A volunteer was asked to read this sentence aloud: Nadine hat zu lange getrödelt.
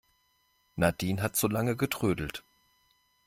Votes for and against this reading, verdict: 2, 0, accepted